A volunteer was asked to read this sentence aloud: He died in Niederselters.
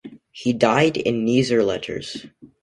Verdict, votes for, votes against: rejected, 0, 2